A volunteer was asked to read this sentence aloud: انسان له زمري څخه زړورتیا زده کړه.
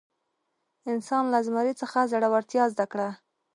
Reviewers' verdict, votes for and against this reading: accepted, 2, 0